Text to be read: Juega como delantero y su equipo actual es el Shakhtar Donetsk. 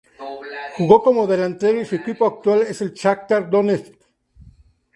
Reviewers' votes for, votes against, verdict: 0, 2, rejected